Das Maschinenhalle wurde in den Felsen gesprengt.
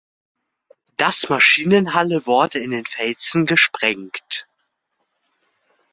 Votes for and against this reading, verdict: 2, 0, accepted